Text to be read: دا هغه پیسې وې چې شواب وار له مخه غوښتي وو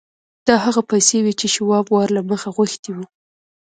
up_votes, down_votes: 2, 0